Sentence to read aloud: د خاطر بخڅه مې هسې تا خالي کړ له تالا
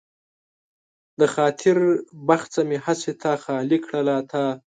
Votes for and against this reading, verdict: 0, 2, rejected